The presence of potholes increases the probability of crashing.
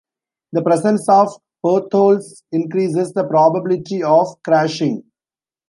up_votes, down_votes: 1, 2